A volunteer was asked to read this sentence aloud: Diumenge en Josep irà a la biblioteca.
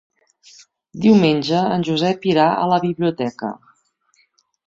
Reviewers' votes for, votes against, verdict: 3, 0, accepted